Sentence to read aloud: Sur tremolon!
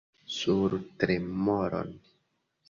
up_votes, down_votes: 1, 3